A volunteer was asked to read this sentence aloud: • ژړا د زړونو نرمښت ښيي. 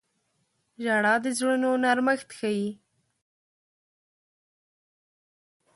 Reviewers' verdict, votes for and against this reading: accepted, 2, 0